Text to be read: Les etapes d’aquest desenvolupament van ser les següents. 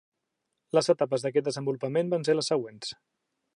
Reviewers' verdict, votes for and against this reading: accepted, 3, 0